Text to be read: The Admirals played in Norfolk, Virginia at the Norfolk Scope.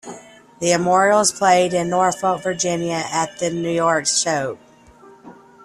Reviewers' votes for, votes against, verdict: 0, 2, rejected